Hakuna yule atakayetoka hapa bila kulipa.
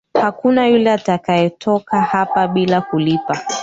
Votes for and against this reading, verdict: 2, 3, rejected